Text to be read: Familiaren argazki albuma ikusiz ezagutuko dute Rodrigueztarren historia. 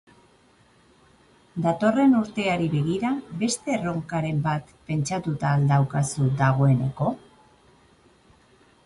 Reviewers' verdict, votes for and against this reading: rejected, 0, 2